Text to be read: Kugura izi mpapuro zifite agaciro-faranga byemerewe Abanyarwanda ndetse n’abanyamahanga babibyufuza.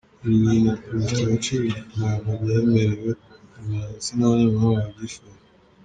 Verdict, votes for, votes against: rejected, 2, 3